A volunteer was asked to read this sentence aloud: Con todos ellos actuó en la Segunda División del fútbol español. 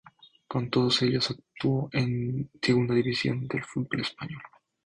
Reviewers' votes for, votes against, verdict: 6, 0, accepted